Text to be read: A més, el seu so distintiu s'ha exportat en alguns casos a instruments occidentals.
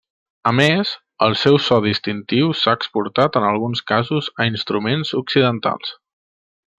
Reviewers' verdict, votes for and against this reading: accepted, 3, 0